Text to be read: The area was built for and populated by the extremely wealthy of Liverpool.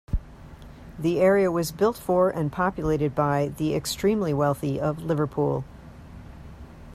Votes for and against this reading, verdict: 2, 0, accepted